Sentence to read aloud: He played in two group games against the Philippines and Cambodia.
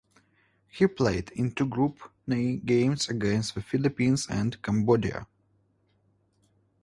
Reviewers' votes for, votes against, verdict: 0, 2, rejected